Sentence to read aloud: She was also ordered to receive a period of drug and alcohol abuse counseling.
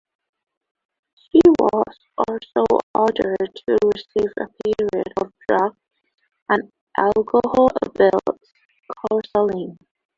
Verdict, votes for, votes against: accepted, 2, 1